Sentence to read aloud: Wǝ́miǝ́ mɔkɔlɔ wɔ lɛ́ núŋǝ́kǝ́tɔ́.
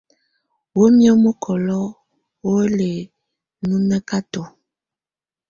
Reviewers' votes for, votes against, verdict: 2, 0, accepted